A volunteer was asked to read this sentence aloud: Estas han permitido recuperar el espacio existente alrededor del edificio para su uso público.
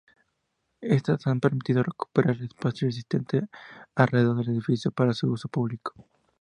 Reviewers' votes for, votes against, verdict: 2, 2, rejected